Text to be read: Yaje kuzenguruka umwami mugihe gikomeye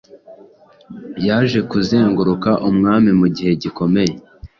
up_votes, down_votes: 2, 0